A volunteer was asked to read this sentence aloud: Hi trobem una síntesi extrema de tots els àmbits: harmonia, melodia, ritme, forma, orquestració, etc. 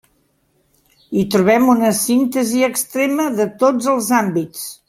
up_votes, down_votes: 0, 2